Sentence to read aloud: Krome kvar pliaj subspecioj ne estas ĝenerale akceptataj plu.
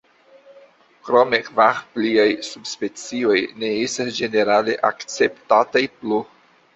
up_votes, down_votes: 2, 0